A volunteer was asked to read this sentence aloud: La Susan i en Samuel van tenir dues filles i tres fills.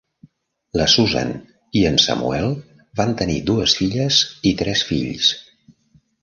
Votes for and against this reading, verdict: 0, 2, rejected